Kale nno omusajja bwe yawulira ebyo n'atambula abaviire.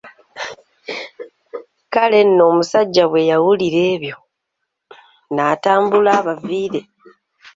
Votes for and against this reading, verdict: 2, 0, accepted